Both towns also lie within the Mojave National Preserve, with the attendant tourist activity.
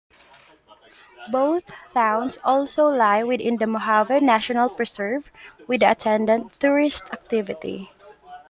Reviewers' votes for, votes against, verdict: 5, 1, accepted